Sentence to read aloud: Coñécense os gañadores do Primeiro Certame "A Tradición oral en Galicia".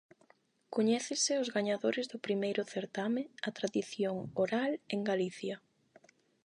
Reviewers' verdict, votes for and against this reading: rejected, 4, 4